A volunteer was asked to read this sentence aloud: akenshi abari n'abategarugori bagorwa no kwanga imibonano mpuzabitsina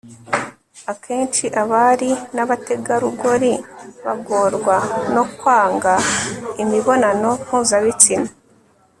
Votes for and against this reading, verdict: 1, 2, rejected